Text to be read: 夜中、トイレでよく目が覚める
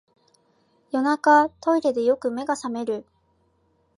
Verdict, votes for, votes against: accepted, 3, 0